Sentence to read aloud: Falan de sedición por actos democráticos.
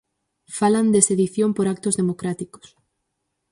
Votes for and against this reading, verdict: 4, 0, accepted